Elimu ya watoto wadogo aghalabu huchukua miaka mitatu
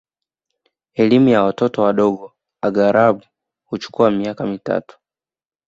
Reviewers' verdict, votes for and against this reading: accepted, 2, 0